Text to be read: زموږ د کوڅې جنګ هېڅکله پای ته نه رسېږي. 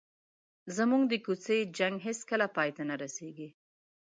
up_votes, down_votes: 2, 0